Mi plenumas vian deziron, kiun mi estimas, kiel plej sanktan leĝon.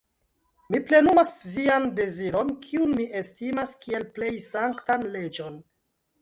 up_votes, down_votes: 1, 2